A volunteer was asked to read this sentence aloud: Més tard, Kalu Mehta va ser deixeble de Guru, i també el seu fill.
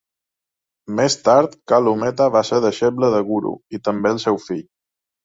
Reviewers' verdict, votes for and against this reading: accepted, 4, 0